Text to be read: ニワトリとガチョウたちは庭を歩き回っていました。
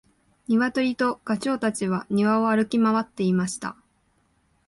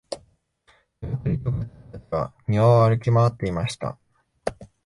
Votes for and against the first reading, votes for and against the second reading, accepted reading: 2, 0, 0, 2, first